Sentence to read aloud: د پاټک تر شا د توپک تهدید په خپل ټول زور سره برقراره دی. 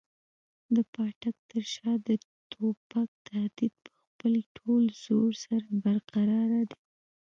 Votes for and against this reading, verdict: 2, 0, accepted